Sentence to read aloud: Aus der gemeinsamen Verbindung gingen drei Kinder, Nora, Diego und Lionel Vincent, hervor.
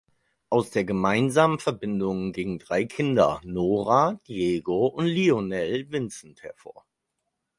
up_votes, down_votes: 4, 0